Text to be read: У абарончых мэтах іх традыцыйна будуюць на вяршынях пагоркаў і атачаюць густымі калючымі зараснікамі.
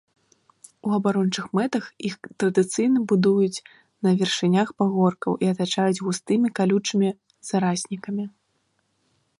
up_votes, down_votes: 0, 2